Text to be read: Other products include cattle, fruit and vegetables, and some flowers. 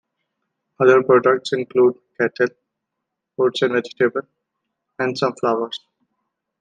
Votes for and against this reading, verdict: 0, 2, rejected